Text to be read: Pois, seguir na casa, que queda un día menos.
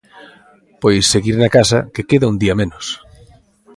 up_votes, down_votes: 2, 0